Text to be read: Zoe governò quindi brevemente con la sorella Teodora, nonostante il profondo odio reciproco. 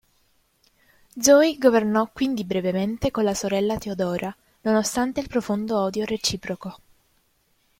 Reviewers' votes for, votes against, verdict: 2, 0, accepted